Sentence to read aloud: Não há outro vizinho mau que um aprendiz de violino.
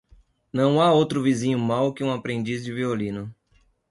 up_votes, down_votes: 2, 0